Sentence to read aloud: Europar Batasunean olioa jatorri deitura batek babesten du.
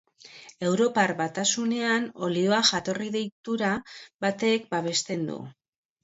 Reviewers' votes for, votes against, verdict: 3, 0, accepted